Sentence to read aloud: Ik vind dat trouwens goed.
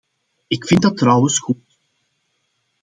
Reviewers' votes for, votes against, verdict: 2, 1, accepted